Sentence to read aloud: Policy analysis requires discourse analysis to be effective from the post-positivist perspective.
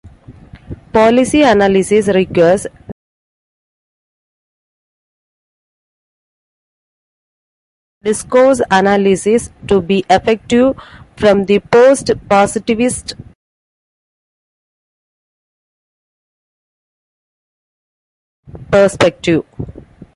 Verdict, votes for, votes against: rejected, 0, 2